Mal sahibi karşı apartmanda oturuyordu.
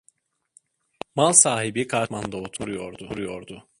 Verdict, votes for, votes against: rejected, 0, 2